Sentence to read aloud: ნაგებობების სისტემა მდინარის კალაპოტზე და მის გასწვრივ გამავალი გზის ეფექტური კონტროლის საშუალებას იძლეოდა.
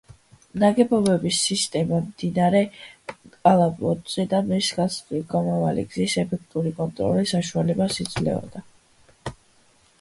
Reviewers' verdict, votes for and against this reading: rejected, 2, 3